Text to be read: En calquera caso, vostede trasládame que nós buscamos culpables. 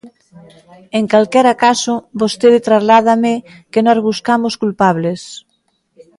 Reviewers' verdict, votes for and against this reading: accepted, 2, 0